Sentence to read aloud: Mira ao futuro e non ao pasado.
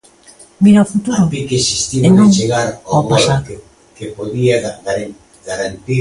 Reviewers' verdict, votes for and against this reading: rejected, 1, 2